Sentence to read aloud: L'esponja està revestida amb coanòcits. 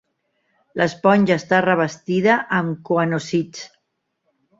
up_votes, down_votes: 1, 2